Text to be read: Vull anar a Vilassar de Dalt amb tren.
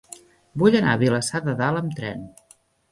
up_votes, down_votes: 3, 0